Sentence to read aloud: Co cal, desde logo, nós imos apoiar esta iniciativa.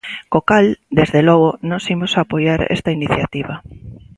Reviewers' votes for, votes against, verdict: 2, 0, accepted